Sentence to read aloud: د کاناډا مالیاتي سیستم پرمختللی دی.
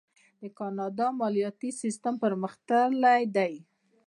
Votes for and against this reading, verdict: 2, 0, accepted